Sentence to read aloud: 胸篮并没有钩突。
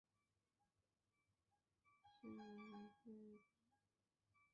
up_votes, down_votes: 0, 2